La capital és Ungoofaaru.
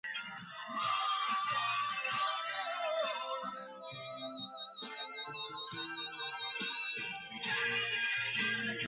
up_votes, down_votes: 0, 3